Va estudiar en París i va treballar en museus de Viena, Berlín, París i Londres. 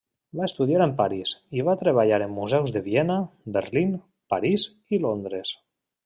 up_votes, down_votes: 3, 1